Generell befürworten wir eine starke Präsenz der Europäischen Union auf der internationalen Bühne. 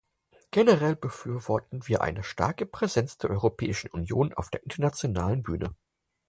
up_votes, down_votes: 4, 0